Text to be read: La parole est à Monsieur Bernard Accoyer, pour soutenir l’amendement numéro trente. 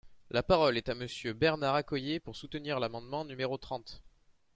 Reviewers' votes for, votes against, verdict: 2, 0, accepted